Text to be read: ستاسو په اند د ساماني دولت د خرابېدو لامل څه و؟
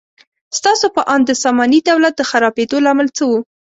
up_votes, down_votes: 2, 0